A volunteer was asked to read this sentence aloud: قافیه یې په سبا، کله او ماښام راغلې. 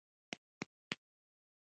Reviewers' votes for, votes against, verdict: 1, 2, rejected